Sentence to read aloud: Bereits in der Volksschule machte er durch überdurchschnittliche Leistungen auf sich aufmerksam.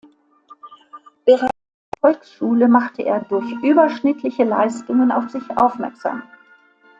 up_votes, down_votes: 0, 2